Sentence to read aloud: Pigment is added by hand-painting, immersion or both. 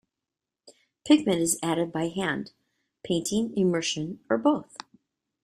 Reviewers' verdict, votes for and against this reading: rejected, 1, 2